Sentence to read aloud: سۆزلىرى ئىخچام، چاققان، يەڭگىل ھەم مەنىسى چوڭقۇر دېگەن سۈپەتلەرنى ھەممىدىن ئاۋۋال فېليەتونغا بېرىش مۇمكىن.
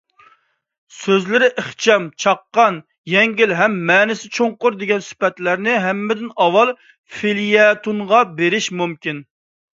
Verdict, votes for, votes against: accepted, 2, 0